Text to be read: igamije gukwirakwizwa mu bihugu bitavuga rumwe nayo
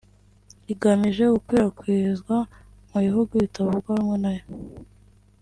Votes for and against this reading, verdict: 1, 2, rejected